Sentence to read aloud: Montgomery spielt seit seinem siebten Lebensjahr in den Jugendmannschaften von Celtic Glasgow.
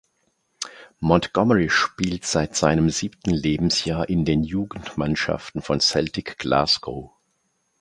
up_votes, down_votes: 2, 0